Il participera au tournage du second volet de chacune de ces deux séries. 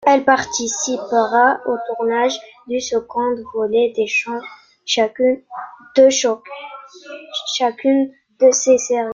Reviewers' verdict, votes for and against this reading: rejected, 0, 2